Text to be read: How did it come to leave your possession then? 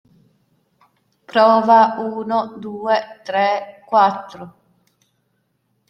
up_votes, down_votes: 0, 2